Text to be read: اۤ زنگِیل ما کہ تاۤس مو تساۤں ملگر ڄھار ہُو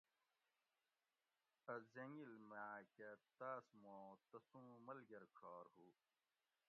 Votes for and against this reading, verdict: 1, 2, rejected